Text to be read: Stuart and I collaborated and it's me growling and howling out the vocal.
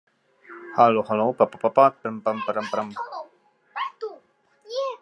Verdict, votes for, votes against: rejected, 0, 2